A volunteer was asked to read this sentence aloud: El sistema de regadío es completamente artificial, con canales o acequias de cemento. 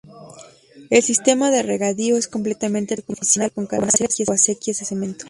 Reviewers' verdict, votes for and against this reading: rejected, 1, 3